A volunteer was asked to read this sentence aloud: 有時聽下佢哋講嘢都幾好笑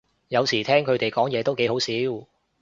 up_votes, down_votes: 0, 2